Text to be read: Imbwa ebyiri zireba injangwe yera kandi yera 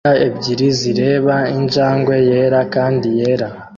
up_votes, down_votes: 2, 0